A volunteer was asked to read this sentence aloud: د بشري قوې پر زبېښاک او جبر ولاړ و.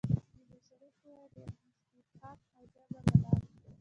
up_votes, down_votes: 0, 2